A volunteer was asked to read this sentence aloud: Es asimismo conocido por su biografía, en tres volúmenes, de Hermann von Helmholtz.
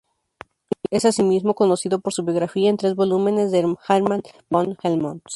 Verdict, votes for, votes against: rejected, 0, 2